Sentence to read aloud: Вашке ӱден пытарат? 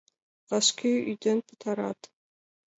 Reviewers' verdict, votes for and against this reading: accepted, 2, 0